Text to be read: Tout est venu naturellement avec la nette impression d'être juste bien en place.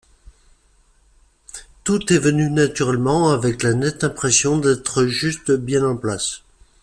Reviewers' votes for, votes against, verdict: 2, 0, accepted